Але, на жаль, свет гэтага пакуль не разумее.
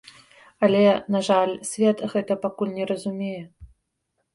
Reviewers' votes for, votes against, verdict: 2, 0, accepted